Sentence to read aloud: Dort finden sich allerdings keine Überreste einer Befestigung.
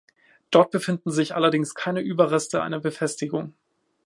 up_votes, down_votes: 1, 2